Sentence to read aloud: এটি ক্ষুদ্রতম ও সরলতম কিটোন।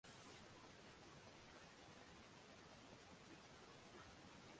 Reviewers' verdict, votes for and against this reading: rejected, 1, 14